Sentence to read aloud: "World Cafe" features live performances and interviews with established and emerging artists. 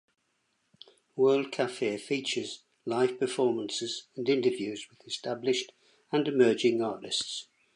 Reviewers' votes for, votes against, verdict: 1, 2, rejected